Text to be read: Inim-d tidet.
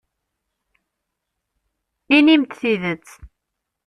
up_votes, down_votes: 2, 0